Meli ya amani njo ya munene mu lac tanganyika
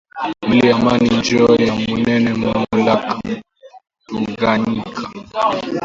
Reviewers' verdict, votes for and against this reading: rejected, 0, 2